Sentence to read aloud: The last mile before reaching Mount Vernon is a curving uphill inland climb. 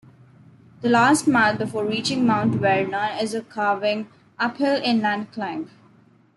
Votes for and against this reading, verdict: 1, 2, rejected